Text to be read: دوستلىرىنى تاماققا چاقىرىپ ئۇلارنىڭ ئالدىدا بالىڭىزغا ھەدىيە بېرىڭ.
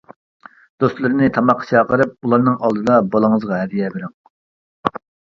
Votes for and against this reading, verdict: 2, 0, accepted